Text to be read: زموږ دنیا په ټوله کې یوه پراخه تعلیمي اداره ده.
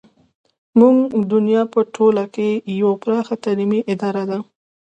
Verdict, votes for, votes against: accepted, 2, 0